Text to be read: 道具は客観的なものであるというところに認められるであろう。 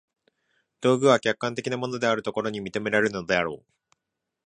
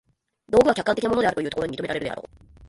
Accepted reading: first